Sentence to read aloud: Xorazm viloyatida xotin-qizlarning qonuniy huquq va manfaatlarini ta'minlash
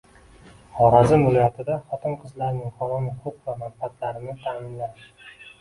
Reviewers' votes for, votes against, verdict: 1, 2, rejected